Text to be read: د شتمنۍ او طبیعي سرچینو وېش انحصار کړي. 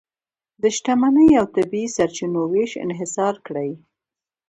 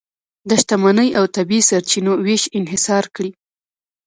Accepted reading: second